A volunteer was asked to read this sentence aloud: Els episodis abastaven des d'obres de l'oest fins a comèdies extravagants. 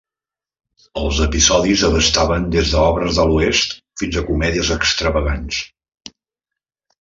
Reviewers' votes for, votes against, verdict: 3, 0, accepted